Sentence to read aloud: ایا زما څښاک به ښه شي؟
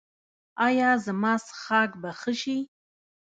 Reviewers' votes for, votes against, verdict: 0, 2, rejected